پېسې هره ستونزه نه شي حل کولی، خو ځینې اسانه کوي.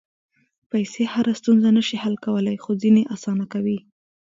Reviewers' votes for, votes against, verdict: 2, 0, accepted